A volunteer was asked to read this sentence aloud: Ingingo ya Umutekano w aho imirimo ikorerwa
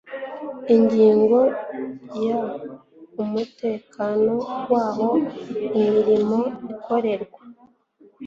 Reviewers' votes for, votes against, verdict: 2, 0, accepted